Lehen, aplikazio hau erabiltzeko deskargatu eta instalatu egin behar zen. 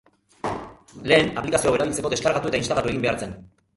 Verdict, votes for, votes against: rejected, 0, 2